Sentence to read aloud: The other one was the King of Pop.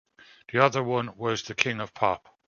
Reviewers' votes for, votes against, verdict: 2, 0, accepted